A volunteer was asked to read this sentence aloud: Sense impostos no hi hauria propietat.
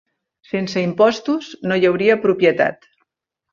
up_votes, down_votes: 2, 0